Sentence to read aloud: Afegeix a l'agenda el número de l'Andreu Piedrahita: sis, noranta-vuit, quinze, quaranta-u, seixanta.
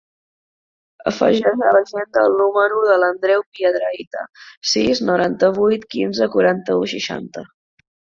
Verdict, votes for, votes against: rejected, 0, 2